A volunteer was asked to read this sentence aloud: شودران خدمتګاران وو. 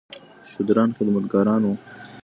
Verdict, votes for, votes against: accepted, 2, 0